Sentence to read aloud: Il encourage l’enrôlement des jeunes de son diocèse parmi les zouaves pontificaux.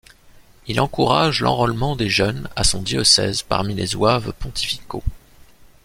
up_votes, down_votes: 0, 2